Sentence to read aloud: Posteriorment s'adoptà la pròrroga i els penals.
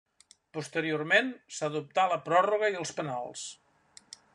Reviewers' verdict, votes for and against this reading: rejected, 1, 2